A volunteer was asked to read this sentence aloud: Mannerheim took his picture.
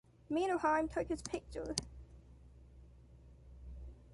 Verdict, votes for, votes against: accepted, 2, 0